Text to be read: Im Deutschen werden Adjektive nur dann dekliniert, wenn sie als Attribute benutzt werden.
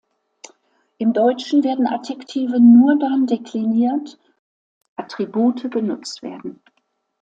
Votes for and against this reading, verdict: 0, 2, rejected